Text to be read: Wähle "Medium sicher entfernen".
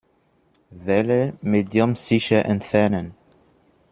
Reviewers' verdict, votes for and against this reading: accepted, 2, 0